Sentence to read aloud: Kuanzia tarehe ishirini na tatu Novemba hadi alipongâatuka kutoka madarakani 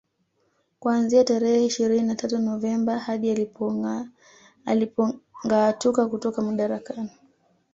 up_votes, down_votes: 0, 2